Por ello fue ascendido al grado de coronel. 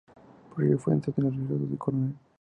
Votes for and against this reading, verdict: 0, 4, rejected